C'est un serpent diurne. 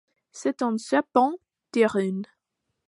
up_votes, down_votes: 0, 2